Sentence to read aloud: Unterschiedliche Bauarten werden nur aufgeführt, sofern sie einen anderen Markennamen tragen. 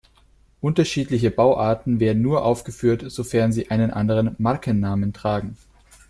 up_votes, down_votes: 2, 0